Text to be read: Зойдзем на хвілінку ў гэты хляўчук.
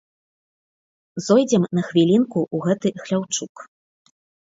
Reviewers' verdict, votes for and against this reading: accepted, 2, 1